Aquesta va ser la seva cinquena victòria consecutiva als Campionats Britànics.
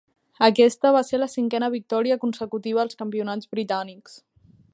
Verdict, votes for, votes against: rejected, 1, 2